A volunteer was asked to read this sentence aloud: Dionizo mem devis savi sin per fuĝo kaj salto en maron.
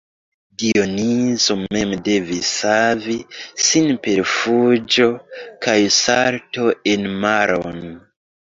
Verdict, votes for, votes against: accepted, 2, 0